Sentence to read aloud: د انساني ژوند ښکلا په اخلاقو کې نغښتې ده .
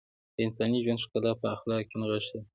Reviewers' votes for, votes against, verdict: 1, 2, rejected